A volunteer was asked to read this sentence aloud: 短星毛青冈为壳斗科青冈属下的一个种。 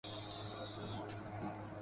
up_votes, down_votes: 0, 2